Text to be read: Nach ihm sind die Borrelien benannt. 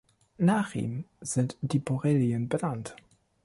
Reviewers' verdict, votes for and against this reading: accepted, 2, 0